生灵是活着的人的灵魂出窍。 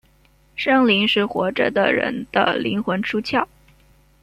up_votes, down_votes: 1, 2